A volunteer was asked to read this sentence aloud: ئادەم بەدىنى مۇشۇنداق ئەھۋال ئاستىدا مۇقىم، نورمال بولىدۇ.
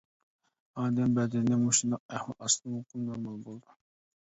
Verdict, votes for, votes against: rejected, 0, 2